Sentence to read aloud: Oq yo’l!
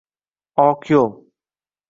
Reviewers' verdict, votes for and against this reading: accepted, 2, 1